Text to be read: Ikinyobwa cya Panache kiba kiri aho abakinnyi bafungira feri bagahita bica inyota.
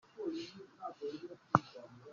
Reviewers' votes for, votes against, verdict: 0, 2, rejected